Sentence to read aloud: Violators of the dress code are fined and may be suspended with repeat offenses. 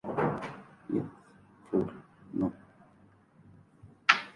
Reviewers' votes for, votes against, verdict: 0, 2, rejected